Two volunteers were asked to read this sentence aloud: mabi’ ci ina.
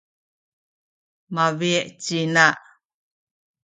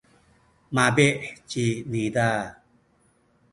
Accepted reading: first